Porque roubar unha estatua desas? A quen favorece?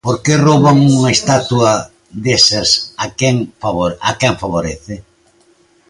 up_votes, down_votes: 0, 2